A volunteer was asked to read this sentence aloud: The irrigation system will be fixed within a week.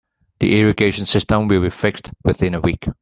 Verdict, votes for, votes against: accepted, 2, 1